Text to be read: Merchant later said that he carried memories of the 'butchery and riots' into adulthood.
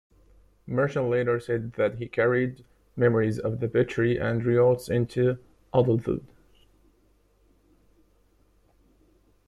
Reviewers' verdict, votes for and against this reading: rejected, 1, 2